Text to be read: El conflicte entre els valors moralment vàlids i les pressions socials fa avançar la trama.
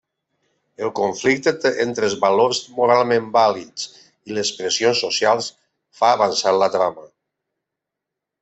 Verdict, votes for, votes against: rejected, 0, 2